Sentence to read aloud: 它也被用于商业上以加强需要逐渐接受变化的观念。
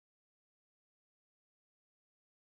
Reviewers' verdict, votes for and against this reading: rejected, 0, 2